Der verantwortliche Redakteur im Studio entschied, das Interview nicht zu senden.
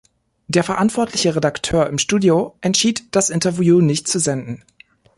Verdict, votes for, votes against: accepted, 2, 0